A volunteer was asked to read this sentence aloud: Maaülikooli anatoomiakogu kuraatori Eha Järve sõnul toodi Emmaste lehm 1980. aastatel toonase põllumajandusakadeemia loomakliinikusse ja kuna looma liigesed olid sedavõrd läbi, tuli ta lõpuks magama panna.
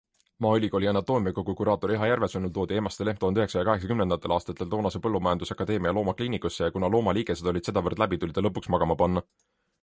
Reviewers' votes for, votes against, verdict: 0, 2, rejected